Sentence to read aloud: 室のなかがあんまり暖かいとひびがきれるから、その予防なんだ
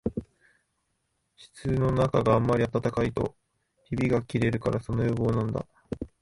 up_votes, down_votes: 1, 2